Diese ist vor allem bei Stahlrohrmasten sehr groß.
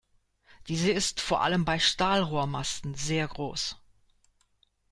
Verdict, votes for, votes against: accepted, 2, 0